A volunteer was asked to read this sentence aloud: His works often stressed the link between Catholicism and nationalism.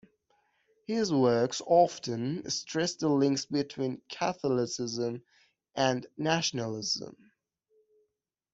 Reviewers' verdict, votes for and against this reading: rejected, 0, 2